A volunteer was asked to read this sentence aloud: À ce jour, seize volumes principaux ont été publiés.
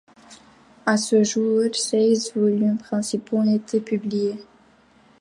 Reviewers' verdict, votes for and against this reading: rejected, 1, 2